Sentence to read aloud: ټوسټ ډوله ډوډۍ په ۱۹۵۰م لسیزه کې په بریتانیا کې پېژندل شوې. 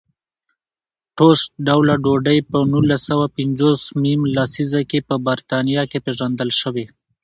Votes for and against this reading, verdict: 0, 2, rejected